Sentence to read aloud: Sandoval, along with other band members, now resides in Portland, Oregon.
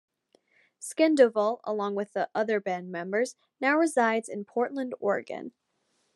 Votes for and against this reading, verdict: 2, 0, accepted